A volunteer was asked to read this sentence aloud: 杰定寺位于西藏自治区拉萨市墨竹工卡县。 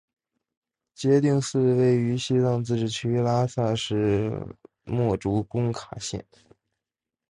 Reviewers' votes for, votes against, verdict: 2, 0, accepted